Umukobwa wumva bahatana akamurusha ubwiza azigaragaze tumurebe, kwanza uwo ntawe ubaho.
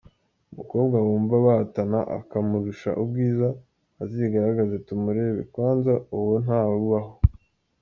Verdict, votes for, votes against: accepted, 2, 1